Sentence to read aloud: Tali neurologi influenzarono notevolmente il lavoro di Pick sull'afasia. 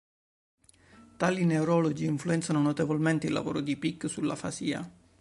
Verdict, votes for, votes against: rejected, 1, 2